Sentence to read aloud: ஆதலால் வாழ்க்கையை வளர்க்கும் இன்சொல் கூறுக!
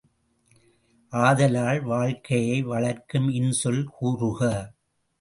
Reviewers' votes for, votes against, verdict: 2, 0, accepted